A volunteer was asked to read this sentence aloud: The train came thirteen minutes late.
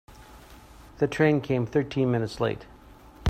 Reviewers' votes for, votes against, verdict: 2, 0, accepted